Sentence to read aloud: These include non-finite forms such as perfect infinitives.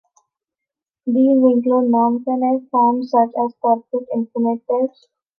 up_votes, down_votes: 2, 1